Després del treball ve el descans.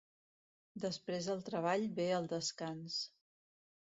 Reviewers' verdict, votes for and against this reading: rejected, 0, 2